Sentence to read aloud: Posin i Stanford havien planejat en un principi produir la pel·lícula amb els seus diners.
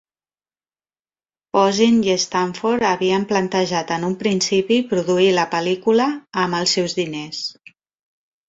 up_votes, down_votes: 1, 2